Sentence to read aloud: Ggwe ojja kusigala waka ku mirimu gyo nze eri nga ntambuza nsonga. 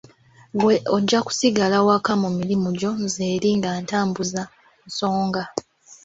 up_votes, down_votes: 2, 1